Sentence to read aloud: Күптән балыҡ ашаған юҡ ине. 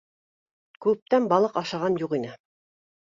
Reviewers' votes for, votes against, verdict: 2, 0, accepted